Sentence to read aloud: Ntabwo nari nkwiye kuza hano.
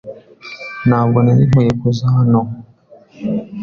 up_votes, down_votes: 2, 0